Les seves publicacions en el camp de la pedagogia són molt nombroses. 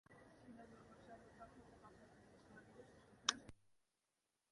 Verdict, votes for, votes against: rejected, 1, 2